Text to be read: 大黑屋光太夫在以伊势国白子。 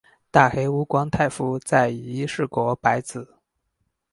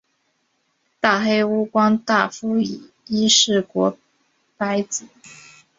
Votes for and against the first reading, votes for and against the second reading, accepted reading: 4, 0, 0, 2, first